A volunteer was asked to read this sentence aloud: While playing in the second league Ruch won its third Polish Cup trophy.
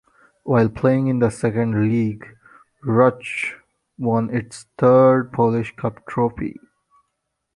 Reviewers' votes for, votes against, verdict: 2, 0, accepted